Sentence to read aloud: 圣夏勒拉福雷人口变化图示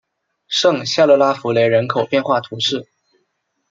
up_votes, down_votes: 2, 0